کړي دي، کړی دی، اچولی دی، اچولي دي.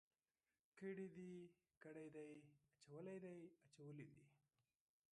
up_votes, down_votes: 0, 3